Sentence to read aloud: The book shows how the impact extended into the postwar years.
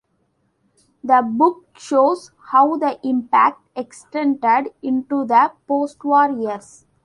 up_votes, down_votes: 2, 0